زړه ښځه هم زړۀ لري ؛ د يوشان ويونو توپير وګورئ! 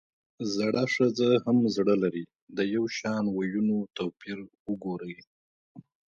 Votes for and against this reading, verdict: 2, 1, accepted